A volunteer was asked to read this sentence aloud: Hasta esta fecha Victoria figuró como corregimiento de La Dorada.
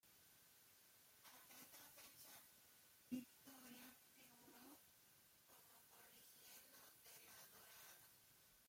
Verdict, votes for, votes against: rejected, 0, 2